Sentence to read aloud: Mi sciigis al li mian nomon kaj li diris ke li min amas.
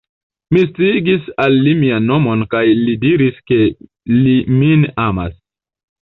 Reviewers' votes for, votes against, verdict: 1, 2, rejected